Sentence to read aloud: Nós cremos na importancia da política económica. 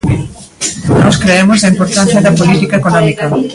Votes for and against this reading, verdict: 2, 0, accepted